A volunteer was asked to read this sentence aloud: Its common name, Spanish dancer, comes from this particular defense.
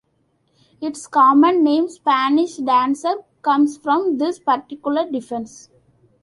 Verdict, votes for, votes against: accepted, 2, 0